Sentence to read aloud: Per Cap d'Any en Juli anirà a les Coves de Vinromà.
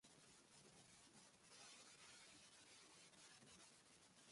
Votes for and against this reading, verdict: 0, 2, rejected